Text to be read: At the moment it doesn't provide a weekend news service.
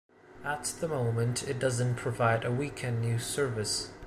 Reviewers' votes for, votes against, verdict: 2, 0, accepted